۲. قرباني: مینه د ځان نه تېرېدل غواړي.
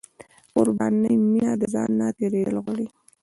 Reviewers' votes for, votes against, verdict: 0, 2, rejected